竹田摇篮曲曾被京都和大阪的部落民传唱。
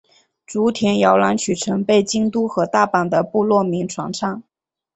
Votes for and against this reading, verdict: 2, 0, accepted